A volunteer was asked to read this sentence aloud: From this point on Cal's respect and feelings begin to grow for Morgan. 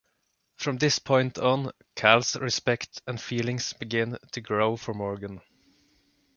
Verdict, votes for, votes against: accepted, 2, 0